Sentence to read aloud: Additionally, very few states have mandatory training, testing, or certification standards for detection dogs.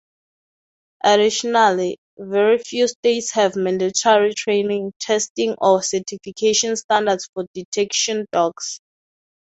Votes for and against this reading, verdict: 2, 0, accepted